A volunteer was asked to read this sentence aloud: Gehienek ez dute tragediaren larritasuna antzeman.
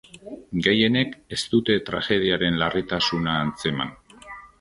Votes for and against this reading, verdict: 5, 0, accepted